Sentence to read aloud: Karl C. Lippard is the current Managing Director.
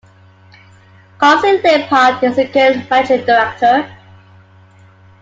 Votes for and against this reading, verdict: 0, 2, rejected